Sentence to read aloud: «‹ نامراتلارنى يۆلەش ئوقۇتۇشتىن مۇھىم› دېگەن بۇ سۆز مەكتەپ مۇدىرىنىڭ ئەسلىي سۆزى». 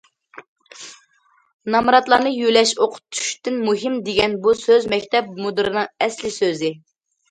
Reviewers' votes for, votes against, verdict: 2, 0, accepted